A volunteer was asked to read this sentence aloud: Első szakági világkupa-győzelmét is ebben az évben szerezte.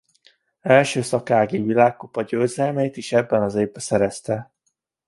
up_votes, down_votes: 2, 0